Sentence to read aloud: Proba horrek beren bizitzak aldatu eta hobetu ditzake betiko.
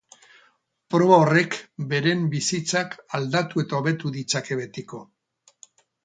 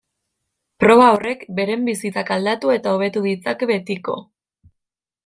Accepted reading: second